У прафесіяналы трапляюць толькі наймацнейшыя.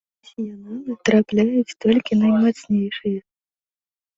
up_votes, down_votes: 0, 2